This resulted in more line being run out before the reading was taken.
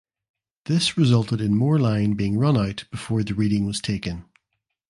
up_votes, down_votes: 2, 0